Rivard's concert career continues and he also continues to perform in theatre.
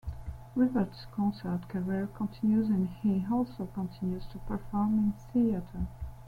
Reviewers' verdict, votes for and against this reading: rejected, 1, 2